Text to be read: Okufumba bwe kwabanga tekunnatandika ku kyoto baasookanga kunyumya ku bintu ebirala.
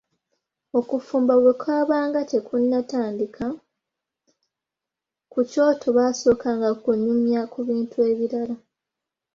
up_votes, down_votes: 2, 0